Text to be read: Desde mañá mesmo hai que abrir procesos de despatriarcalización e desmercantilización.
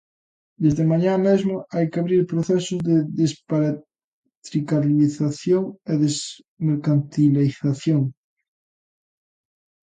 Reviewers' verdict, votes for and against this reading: rejected, 0, 3